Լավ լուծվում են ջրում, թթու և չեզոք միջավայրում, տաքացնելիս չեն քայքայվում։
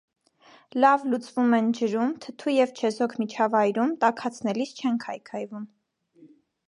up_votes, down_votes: 2, 0